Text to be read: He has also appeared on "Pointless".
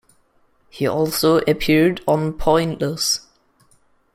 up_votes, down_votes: 0, 2